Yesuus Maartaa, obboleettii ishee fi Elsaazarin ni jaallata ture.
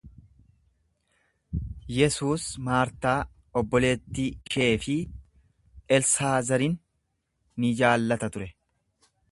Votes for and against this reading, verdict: 1, 2, rejected